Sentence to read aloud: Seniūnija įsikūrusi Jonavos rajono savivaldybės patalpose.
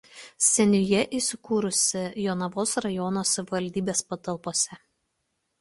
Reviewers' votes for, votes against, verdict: 1, 2, rejected